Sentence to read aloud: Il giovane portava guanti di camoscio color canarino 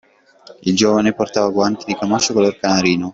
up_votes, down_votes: 0, 2